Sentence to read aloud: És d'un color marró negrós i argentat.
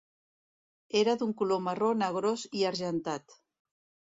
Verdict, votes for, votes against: rejected, 1, 3